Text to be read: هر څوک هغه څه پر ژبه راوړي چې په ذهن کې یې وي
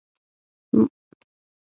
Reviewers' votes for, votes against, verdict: 0, 6, rejected